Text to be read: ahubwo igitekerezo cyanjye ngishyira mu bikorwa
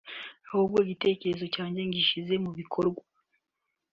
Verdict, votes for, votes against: rejected, 0, 2